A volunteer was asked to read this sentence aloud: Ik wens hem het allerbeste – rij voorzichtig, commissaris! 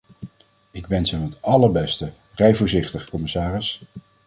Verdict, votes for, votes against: accepted, 2, 0